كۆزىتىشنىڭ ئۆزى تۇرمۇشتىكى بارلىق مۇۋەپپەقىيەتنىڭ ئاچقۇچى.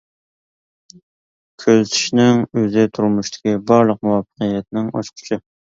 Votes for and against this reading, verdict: 2, 0, accepted